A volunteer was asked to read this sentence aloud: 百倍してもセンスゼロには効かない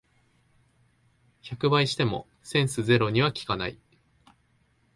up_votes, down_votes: 2, 0